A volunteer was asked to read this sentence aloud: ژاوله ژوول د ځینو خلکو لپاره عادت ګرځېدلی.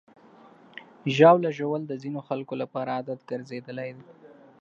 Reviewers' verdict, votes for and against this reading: accepted, 2, 0